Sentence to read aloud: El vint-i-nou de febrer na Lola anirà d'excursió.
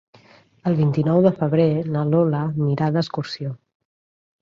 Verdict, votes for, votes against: accepted, 3, 1